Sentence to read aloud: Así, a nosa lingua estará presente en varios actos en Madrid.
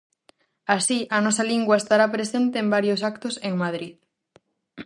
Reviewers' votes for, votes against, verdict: 4, 0, accepted